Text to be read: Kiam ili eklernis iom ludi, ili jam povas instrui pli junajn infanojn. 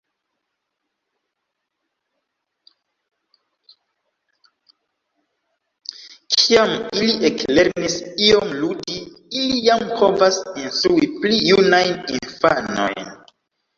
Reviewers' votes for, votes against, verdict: 1, 3, rejected